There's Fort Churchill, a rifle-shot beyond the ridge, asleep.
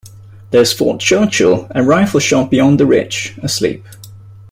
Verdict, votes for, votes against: accepted, 2, 0